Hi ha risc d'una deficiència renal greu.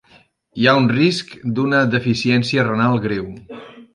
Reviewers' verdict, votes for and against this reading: rejected, 0, 2